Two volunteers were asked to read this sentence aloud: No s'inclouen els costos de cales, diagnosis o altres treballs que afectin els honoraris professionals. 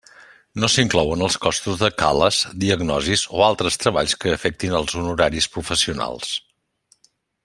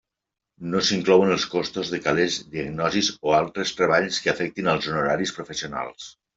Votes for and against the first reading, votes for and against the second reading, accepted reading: 4, 0, 0, 2, first